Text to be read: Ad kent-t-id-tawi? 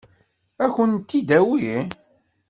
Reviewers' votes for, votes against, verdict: 1, 2, rejected